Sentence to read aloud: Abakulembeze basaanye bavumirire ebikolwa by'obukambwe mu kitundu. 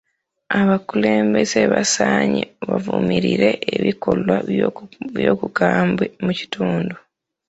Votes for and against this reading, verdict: 1, 2, rejected